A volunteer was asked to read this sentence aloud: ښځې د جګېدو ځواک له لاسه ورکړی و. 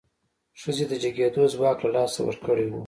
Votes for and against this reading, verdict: 1, 2, rejected